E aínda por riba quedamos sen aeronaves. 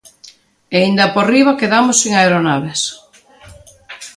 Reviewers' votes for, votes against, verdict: 2, 0, accepted